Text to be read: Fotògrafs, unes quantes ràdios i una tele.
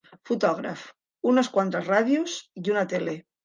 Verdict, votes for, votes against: accepted, 2, 1